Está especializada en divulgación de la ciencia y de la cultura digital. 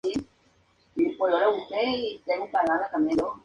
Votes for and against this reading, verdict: 0, 4, rejected